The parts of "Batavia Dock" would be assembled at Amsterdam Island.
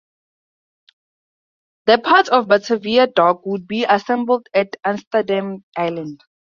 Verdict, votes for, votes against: accepted, 4, 0